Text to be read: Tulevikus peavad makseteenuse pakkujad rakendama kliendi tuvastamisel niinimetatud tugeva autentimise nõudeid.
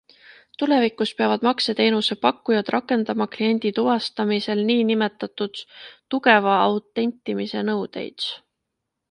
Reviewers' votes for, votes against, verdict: 2, 0, accepted